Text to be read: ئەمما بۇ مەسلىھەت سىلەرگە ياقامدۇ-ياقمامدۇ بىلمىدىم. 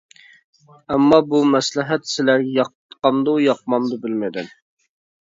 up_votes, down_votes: 0, 2